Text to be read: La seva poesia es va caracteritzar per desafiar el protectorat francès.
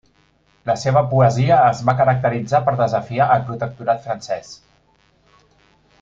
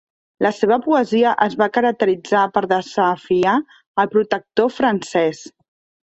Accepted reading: first